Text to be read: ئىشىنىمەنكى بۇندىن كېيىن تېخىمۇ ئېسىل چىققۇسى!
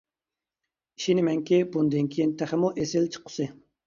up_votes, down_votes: 2, 0